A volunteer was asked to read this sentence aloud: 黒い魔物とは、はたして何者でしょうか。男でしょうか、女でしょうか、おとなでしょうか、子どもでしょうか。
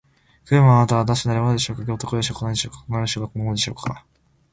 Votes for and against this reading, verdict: 0, 2, rejected